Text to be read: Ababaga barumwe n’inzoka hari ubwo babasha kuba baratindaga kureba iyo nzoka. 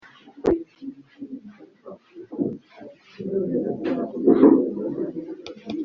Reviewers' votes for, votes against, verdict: 0, 2, rejected